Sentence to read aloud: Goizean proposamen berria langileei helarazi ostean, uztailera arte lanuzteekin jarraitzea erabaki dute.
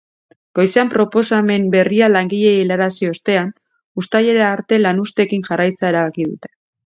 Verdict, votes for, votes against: accepted, 3, 0